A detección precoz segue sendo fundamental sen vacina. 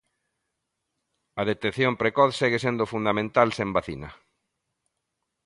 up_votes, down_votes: 2, 1